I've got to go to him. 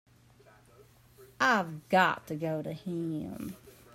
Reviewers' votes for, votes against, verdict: 2, 0, accepted